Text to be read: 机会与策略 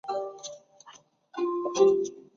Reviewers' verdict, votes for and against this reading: rejected, 0, 2